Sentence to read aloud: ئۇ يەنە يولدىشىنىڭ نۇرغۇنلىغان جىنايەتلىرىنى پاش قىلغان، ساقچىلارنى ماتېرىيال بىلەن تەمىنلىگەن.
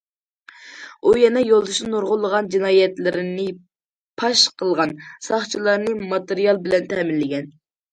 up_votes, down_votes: 2, 1